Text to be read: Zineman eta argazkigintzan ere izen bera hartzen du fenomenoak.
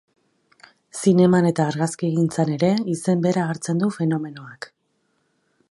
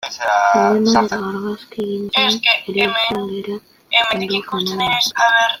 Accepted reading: first